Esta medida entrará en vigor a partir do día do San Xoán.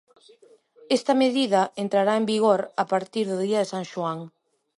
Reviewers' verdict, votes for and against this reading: rejected, 0, 2